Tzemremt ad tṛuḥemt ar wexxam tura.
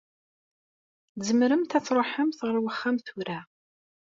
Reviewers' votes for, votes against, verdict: 2, 0, accepted